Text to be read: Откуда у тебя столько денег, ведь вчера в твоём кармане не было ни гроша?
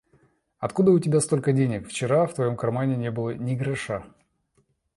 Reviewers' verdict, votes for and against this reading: rejected, 1, 2